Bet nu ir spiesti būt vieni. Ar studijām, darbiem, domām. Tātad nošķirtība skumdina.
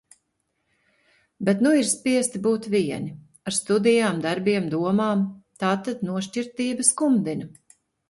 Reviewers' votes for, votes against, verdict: 2, 0, accepted